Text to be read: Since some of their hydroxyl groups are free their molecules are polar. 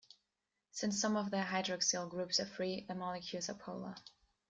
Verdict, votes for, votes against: accepted, 2, 0